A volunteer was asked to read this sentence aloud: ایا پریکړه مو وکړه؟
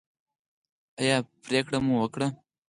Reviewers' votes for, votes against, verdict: 2, 4, rejected